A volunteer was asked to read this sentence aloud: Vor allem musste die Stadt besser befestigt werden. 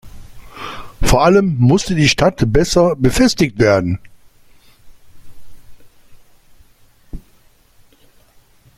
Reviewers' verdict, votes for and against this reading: rejected, 0, 2